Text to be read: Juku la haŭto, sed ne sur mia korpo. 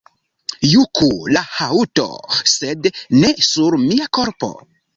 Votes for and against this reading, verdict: 2, 0, accepted